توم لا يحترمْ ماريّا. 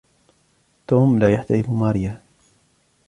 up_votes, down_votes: 2, 0